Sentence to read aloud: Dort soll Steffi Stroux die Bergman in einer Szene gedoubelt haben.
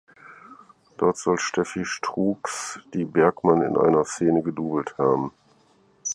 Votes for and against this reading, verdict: 4, 0, accepted